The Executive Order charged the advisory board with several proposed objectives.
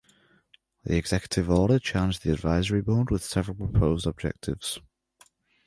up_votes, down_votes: 2, 0